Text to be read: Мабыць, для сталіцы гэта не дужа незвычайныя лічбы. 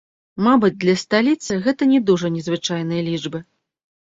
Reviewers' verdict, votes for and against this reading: rejected, 1, 2